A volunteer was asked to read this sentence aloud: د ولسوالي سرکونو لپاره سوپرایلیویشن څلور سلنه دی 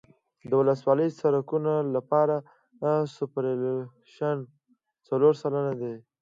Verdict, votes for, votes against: accepted, 2, 1